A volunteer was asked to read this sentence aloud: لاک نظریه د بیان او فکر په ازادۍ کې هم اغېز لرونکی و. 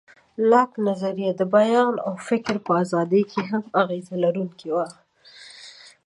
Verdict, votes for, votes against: accepted, 2, 1